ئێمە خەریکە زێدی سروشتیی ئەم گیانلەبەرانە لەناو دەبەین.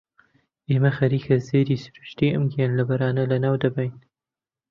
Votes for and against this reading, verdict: 2, 0, accepted